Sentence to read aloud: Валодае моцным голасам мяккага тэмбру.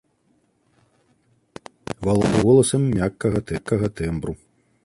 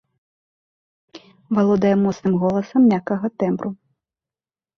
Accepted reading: second